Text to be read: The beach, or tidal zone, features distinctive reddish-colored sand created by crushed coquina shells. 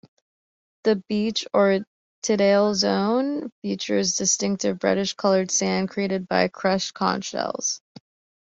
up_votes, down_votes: 0, 2